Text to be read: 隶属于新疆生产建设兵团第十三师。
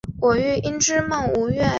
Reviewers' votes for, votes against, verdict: 0, 2, rejected